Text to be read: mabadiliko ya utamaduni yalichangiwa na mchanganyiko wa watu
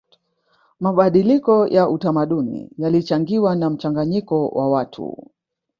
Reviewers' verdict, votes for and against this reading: accepted, 3, 0